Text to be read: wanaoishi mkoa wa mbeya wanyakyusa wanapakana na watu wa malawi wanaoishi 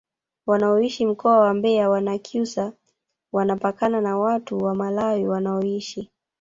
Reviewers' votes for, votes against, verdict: 1, 2, rejected